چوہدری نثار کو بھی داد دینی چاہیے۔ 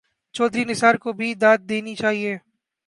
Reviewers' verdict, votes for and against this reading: accepted, 4, 1